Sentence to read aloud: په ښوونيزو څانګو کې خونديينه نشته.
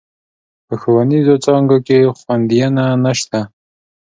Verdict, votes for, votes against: accepted, 2, 0